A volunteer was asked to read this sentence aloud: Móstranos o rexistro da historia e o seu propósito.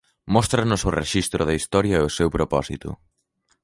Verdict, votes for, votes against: accepted, 2, 0